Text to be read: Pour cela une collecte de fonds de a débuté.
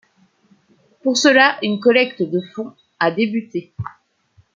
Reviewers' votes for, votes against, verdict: 1, 2, rejected